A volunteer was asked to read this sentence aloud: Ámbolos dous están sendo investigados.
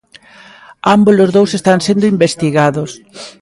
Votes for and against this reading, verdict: 1, 2, rejected